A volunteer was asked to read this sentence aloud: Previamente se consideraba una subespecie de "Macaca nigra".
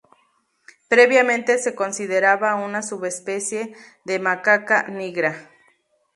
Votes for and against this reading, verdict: 2, 0, accepted